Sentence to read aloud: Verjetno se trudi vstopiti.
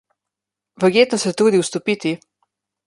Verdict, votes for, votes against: accepted, 2, 1